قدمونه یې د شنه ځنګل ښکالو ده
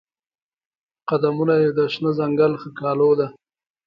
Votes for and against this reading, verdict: 2, 0, accepted